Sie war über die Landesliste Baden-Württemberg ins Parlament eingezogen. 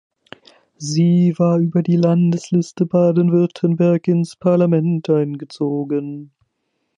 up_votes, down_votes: 0, 2